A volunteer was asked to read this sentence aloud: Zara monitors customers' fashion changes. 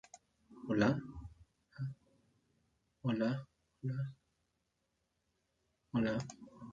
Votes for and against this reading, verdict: 0, 2, rejected